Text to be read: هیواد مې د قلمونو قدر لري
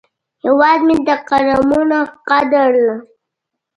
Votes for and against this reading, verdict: 1, 2, rejected